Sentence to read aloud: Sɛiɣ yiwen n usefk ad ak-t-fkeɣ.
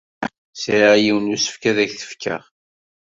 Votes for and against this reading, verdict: 2, 0, accepted